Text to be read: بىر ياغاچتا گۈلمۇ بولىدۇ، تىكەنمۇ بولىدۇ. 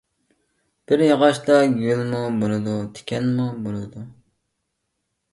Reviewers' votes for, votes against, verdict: 1, 2, rejected